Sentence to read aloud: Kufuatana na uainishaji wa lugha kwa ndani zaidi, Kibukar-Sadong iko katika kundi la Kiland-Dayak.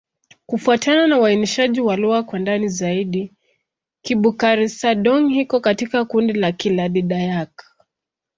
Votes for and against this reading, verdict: 11, 4, accepted